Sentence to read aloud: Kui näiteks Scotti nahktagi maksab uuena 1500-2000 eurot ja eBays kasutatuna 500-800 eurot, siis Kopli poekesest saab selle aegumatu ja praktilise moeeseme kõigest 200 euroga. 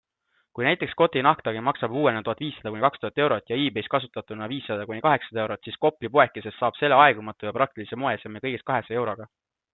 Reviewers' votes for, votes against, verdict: 0, 2, rejected